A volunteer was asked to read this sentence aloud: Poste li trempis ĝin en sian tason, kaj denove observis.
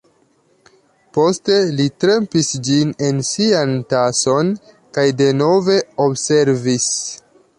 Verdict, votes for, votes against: accepted, 2, 0